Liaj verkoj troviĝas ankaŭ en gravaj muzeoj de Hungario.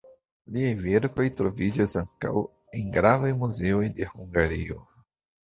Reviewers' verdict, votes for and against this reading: rejected, 0, 2